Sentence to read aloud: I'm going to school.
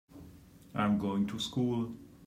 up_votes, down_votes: 3, 0